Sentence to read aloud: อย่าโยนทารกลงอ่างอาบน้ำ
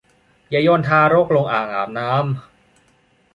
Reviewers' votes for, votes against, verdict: 2, 0, accepted